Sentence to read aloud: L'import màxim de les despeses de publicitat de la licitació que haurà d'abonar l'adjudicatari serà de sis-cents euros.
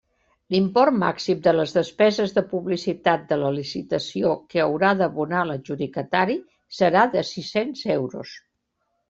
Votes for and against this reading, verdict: 2, 0, accepted